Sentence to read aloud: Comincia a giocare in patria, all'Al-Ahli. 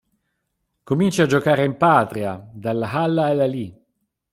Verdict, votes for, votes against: rejected, 1, 2